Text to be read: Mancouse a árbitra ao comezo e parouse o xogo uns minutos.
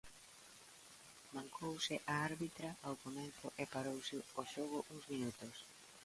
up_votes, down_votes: 1, 2